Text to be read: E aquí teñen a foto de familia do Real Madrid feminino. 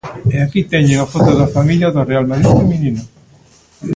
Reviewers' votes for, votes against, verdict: 0, 2, rejected